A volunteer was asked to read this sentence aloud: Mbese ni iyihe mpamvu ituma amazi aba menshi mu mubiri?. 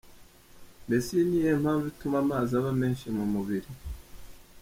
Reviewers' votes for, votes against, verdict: 3, 0, accepted